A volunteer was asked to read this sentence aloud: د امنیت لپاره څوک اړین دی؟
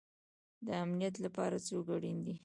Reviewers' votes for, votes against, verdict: 0, 2, rejected